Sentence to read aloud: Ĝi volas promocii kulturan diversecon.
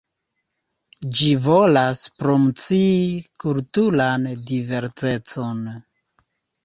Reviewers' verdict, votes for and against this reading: rejected, 0, 2